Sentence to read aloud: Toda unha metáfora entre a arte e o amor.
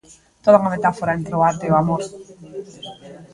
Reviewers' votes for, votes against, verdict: 0, 2, rejected